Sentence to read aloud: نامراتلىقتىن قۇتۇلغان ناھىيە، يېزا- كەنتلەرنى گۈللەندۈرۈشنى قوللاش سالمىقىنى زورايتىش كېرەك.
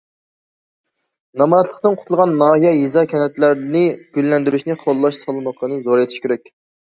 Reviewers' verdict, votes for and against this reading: accepted, 2, 0